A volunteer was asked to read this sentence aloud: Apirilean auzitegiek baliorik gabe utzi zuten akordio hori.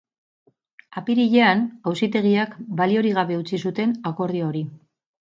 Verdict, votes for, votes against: rejected, 0, 4